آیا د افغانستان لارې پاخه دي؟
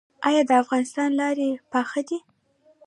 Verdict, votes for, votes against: rejected, 1, 2